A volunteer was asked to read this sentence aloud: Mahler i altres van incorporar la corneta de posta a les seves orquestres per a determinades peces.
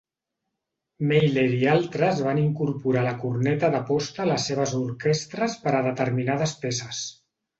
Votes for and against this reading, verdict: 1, 2, rejected